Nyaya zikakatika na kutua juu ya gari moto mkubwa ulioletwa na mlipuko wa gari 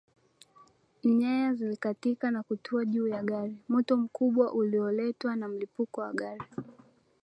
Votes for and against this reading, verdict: 2, 0, accepted